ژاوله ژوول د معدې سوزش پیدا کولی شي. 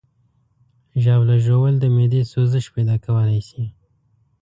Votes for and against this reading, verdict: 2, 0, accepted